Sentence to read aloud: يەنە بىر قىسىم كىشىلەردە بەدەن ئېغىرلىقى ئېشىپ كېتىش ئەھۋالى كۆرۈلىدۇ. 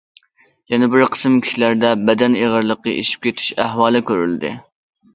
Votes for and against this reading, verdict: 0, 2, rejected